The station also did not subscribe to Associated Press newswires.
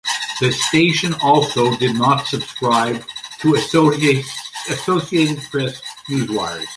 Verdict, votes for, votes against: rejected, 0, 2